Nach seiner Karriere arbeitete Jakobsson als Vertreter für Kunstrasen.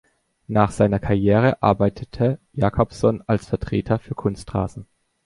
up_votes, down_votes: 3, 0